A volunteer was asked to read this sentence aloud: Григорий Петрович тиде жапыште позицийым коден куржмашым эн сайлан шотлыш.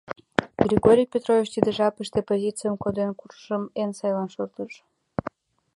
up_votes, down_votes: 0, 2